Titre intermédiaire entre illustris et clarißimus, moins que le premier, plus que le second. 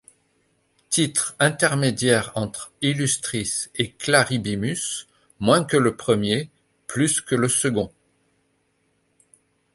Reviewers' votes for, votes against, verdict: 0, 2, rejected